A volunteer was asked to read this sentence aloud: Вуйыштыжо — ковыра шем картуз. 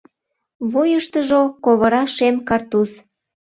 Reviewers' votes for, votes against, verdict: 2, 0, accepted